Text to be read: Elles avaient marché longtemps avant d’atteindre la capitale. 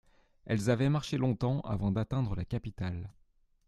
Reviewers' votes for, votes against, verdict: 2, 0, accepted